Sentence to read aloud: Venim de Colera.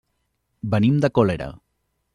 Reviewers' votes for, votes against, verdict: 1, 2, rejected